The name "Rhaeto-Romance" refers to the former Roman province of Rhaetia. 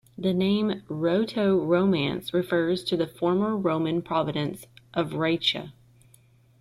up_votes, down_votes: 0, 2